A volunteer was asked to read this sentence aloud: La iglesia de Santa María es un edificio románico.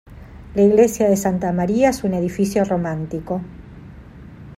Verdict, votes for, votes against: rejected, 0, 2